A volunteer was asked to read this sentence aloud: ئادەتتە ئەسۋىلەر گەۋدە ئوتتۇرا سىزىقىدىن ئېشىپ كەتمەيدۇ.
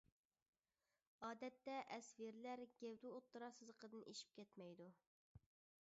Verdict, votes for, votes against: rejected, 0, 2